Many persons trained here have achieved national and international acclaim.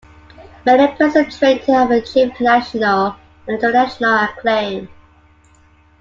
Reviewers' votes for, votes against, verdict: 3, 2, accepted